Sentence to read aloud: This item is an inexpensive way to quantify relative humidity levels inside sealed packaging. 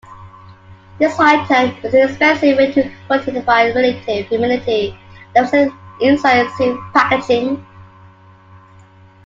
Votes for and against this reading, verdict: 1, 2, rejected